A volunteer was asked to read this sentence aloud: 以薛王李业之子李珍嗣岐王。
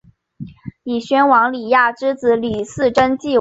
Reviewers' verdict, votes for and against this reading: rejected, 1, 2